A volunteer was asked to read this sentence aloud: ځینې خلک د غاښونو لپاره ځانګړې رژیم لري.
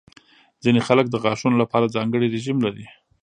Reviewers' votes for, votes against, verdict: 0, 2, rejected